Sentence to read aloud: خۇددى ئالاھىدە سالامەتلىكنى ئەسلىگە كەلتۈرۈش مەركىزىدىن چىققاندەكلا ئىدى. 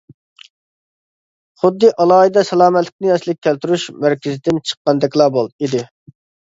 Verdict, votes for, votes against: rejected, 0, 2